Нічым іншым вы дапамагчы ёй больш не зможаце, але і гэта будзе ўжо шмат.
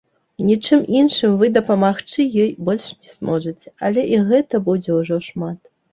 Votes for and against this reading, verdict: 1, 3, rejected